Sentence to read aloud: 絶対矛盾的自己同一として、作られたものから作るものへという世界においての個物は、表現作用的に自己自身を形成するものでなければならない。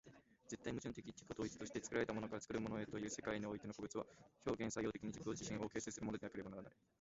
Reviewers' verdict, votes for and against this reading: rejected, 0, 2